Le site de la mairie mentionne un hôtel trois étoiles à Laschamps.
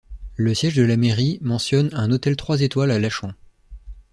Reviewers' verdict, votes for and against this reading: rejected, 1, 2